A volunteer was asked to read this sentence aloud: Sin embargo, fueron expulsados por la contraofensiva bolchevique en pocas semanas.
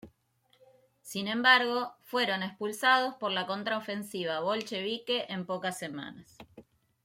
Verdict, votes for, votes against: accepted, 2, 1